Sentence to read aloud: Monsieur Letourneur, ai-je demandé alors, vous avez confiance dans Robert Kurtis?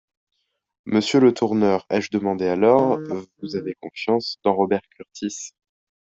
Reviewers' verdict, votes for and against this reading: accepted, 2, 0